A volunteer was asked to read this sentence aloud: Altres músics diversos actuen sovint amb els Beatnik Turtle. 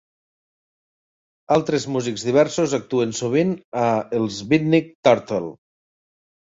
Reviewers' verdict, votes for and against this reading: rejected, 0, 2